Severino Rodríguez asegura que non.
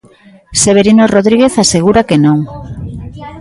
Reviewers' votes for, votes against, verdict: 4, 1, accepted